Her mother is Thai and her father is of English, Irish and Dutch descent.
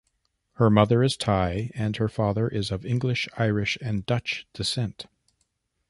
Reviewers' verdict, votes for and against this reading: accepted, 2, 0